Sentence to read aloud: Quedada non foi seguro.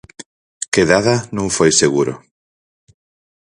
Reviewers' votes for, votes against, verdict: 4, 0, accepted